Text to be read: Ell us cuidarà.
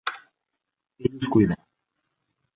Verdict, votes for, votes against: rejected, 0, 2